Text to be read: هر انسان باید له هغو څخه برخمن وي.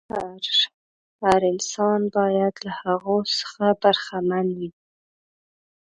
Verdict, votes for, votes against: rejected, 0, 2